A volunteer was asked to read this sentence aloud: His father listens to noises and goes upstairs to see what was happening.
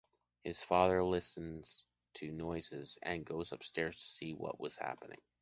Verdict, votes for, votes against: accepted, 2, 0